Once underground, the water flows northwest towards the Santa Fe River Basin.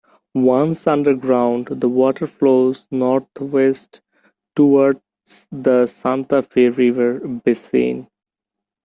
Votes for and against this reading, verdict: 1, 2, rejected